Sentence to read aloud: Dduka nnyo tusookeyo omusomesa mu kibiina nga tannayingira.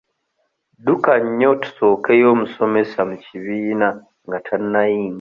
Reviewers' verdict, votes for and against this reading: rejected, 0, 2